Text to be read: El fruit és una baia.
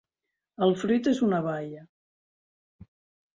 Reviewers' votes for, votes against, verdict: 3, 0, accepted